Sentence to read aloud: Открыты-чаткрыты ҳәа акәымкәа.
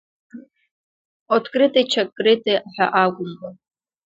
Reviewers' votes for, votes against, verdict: 2, 0, accepted